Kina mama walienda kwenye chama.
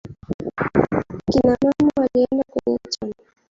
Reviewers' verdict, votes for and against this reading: rejected, 0, 3